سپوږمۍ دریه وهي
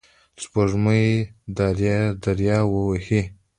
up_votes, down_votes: 2, 0